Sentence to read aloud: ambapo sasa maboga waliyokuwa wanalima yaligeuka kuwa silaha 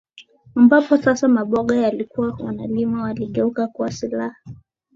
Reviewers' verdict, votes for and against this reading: accepted, 2, 1